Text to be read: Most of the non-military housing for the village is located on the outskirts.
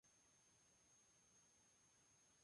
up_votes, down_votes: 0, 2